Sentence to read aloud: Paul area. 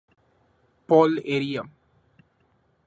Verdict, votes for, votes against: accepted, 3, 0